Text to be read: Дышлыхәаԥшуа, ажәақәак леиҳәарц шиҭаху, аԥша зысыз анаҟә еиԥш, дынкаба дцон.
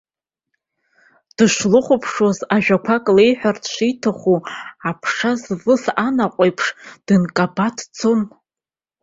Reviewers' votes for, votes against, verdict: 0, 2, rejected